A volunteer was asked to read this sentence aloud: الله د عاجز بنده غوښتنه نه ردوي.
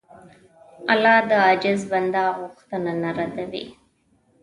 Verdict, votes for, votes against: accepted, 2, 1